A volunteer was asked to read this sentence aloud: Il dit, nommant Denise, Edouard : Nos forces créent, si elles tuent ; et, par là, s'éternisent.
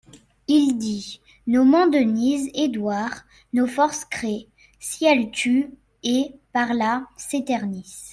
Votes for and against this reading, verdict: 2, 0, accepted